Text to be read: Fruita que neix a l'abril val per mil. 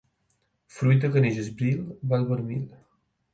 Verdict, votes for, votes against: rejected, 0, 4